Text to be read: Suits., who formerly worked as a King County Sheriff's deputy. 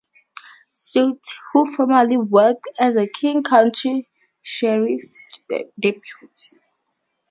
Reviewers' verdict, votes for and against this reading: rejected, 2, 2